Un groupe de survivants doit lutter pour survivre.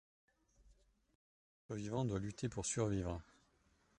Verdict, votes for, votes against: rejected, 1, 2